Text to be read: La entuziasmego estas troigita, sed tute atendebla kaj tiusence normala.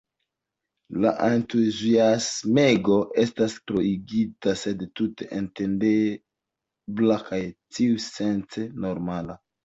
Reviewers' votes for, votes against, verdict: 1, 2, rejected